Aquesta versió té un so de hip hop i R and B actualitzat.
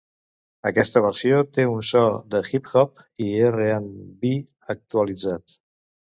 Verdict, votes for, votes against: rejected, 0, 2